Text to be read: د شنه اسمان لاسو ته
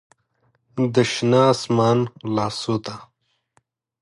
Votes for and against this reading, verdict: 2, 0, accepted